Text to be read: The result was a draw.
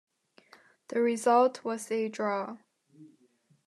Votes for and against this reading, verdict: 2, 0, accepted